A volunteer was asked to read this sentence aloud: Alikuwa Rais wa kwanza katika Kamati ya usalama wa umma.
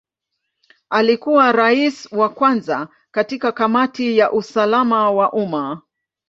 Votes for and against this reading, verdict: 2, 0, accepted